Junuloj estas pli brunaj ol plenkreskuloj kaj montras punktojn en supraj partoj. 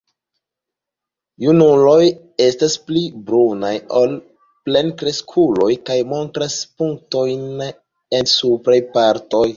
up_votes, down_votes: 2, 0